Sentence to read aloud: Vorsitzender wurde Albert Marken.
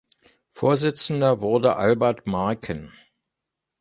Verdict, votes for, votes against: accepted, 2, 0